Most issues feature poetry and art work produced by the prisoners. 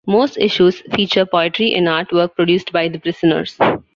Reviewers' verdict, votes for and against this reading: accepted, 2, 1